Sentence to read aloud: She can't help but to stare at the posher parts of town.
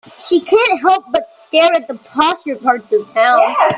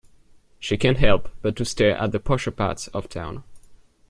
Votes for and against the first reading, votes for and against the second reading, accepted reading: 1, 2, 2, 0, second